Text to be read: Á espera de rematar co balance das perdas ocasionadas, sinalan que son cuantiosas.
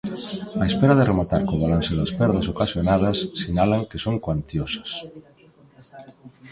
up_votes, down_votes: 1, 2